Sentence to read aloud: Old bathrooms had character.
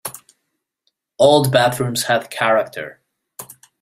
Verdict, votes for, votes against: accepted, 2, 0